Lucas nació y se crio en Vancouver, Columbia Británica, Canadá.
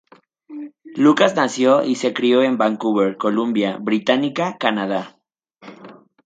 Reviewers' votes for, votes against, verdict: 2, 0, accepted